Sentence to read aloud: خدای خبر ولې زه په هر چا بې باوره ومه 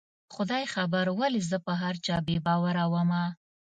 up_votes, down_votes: 2, 0